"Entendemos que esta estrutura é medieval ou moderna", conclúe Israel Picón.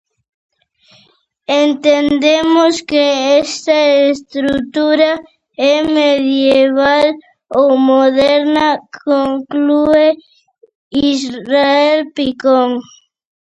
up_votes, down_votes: 0, 2